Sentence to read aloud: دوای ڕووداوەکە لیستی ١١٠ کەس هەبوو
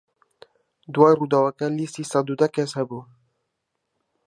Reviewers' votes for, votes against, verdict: 0, 2, rejected